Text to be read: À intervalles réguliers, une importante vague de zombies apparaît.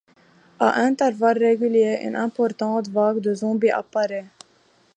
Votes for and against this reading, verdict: 2, 1, accepted